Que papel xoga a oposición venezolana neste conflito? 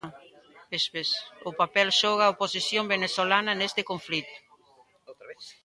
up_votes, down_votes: 0, 2